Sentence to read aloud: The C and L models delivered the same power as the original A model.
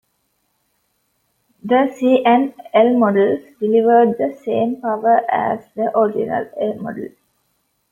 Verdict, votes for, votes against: accepted, 2, 1